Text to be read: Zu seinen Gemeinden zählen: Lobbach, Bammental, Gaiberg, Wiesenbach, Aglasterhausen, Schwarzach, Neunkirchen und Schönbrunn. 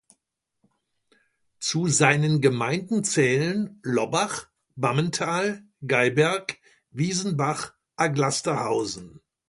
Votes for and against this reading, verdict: 0, 2, rejected